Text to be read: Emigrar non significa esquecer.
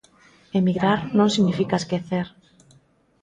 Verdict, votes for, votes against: rejected, 1, 2